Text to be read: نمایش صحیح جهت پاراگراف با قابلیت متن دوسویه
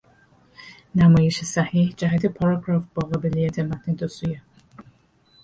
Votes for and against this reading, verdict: 6, 0, accepted